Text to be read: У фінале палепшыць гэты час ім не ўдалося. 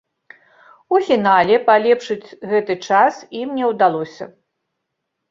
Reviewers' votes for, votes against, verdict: 2, 0, accepted